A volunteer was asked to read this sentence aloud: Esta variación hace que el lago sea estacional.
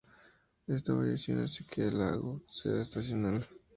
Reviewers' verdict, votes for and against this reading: accepted, 2, 0